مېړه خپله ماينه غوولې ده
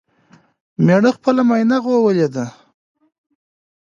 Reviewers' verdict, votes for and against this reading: accepted, 2, 0